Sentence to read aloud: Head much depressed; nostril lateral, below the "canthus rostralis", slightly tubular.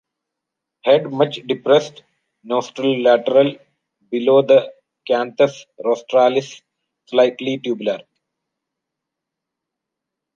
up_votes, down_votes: 0, 2